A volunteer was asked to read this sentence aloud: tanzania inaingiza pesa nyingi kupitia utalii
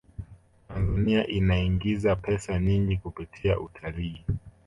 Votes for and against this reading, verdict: 2, 0, accepted